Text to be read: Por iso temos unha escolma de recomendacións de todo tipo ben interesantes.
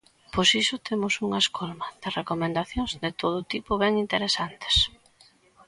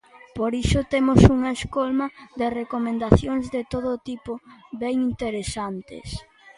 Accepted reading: second